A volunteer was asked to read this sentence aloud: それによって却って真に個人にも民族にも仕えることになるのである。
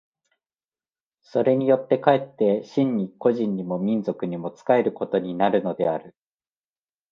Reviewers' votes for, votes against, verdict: 2, 0, accepted